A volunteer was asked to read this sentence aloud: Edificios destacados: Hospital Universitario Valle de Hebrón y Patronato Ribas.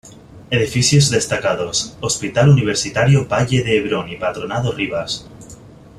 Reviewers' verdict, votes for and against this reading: rejected, 1, 2